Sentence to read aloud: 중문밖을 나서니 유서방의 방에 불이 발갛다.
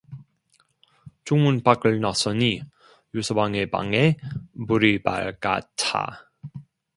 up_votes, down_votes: 0, 2